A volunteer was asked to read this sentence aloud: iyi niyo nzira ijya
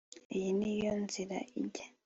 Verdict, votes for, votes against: accepted, 2, 0